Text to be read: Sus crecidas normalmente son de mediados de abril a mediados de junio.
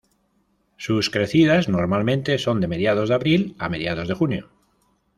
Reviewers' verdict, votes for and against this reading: accepted, 2, 0